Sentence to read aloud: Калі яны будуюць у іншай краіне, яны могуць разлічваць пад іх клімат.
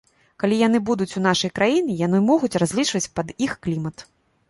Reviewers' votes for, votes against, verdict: 1, 2, rejected